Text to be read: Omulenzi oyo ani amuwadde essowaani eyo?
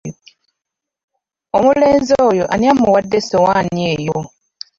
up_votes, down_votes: 0, 2